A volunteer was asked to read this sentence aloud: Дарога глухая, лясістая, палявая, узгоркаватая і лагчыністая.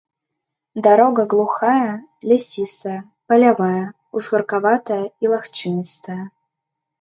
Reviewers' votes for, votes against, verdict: 0, 2, rejected